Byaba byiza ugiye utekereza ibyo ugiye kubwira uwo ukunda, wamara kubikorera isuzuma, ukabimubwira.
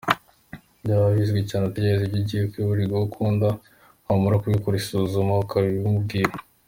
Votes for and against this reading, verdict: 2, 1, accepted